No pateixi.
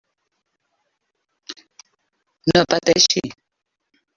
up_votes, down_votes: 1, 2